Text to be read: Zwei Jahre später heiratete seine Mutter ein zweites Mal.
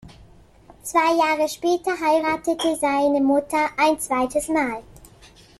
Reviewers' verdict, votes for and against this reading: accepted, 2, 0